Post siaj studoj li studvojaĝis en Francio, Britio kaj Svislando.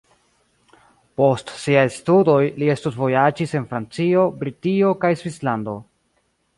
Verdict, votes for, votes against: accepted, 2, 0